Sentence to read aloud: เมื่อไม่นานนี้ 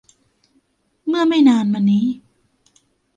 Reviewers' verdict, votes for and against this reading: rejected, 0, 2